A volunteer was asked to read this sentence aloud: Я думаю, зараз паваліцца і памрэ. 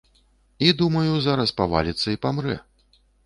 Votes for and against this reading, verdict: 0, 2, rejected